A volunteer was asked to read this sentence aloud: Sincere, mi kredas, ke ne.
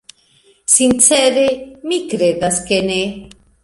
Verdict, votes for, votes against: accepted, 2, 0